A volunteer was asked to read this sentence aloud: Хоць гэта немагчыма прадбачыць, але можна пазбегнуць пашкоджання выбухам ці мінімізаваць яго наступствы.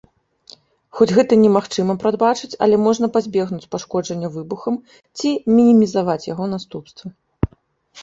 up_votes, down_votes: 2, 0